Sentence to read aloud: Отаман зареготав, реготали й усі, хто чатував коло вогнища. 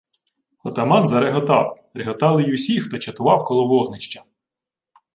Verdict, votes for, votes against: accepted, 2, 1